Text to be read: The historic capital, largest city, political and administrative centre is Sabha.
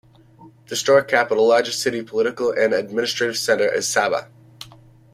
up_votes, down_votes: 2, 0